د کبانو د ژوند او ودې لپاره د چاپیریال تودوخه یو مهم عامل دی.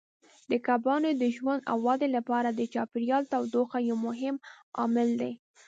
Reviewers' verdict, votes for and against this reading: accepted, 2, 0